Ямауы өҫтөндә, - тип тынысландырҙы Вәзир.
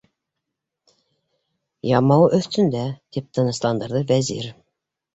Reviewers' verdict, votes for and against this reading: accepted, 2, 0